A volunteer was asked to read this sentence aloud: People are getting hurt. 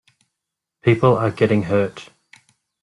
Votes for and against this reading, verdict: 2, 1, accepted